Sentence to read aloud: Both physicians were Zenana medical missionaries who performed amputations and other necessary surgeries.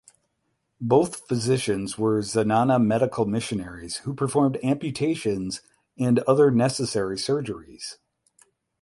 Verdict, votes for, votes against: accepted, 8, 0